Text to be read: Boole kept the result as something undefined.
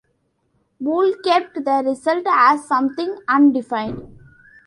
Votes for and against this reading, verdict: 0, 2, rejected